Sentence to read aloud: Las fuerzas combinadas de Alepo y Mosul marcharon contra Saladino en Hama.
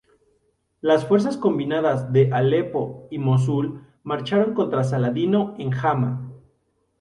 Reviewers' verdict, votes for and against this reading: accepted, 2, 0